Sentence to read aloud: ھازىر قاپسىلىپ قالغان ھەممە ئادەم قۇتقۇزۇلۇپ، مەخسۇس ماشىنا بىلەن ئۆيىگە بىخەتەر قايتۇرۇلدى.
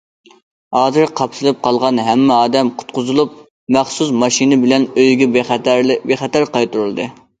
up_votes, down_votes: 0, 2